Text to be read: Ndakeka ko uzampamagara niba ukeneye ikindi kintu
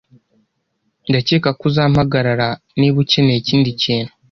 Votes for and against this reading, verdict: 0, 2, rejected